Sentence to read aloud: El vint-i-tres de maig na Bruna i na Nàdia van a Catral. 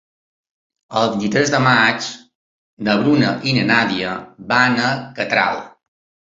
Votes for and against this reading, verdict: 2, 0, accepted